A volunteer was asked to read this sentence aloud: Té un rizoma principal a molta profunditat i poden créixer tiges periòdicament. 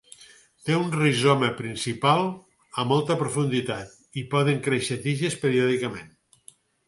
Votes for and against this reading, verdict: 4, 0, accepted